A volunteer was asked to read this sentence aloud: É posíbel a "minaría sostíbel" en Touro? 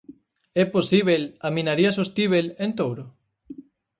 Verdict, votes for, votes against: accepted, 4, 0